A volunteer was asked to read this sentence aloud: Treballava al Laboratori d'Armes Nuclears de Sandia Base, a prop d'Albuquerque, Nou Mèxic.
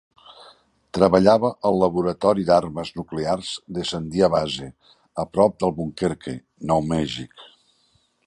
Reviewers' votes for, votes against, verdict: 2, 0, accepted